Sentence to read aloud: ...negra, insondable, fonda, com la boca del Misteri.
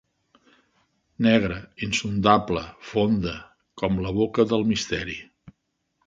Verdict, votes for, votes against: accepted, 2, 0